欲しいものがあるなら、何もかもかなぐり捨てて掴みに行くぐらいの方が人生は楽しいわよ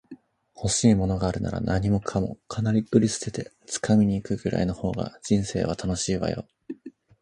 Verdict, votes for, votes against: accepted, 2, 0